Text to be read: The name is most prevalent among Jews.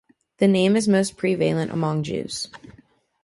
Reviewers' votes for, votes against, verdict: 2, 0, accepted